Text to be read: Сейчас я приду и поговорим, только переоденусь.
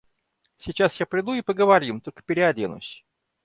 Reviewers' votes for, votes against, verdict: 2, 0, accepted